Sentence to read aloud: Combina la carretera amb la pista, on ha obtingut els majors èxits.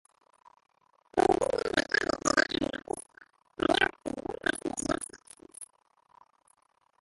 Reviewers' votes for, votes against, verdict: 0, 3, rejected